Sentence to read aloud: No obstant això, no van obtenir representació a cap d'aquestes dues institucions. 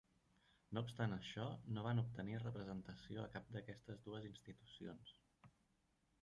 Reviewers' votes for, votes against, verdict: 3, 1, accepted